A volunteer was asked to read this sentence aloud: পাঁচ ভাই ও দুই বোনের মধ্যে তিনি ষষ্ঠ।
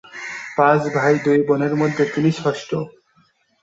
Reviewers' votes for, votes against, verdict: 2, 5, rejected